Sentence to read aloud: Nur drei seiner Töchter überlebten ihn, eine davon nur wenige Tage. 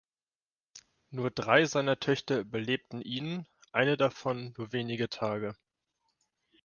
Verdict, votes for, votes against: accepted, 2, 0